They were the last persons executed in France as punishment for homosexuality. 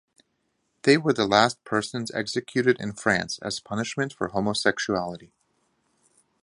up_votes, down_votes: 2, 0